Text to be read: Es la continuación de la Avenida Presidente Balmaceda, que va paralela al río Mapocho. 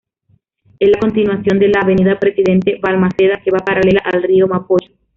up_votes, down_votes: 0, 2